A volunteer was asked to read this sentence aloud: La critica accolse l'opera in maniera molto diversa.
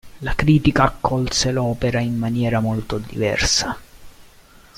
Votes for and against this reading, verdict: 1, 2, rejected